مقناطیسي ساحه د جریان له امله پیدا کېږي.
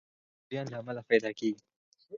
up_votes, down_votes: 2, 4